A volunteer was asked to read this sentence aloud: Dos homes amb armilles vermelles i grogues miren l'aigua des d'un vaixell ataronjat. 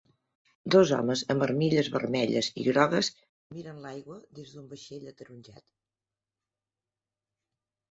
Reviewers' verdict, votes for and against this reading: accepted, 3, 1